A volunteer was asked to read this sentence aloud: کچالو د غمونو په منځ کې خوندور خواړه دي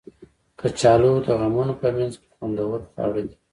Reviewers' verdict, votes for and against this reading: rejected, 0, 2